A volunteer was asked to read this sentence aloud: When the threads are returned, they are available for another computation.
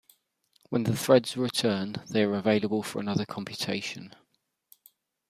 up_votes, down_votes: 2, 0